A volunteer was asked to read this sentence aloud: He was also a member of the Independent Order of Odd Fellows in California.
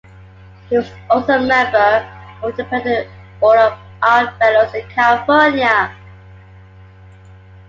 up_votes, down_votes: 2, 0